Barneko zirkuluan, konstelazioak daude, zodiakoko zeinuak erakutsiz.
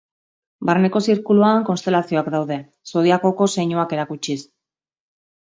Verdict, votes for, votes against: accepted, 2, 0